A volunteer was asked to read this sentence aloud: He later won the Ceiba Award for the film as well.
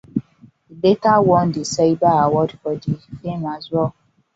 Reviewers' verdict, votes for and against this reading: rejected, 1, 2